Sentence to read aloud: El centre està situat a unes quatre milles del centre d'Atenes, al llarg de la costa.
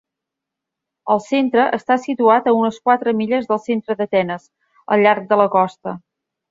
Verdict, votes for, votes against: accepted, 4, 0